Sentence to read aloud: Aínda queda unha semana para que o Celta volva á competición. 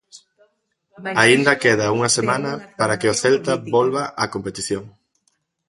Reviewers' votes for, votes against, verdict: 2, 0, accepted